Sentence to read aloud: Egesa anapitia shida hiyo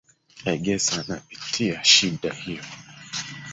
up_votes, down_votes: 0, 3